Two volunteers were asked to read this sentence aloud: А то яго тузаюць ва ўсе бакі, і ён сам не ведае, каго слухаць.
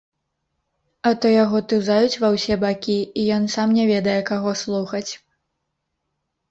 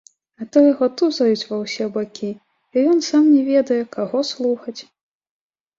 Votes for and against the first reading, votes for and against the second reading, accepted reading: 0, 3, 2, 0, second